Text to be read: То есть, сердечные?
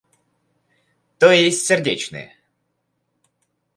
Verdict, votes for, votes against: accepted, 4, 0